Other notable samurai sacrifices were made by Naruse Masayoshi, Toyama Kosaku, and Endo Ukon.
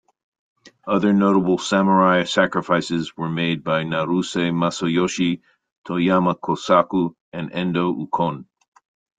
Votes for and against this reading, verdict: 2, 0, accepted